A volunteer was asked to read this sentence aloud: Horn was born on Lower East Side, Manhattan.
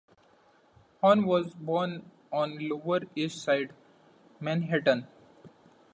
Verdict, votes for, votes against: accepted, 2, 0